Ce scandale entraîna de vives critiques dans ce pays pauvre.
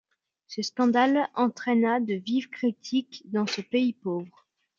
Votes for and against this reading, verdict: 2, 0, accepted